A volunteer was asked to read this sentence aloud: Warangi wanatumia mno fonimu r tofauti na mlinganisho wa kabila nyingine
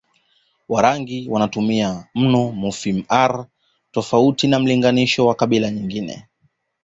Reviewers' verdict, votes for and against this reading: accepted, 2, 0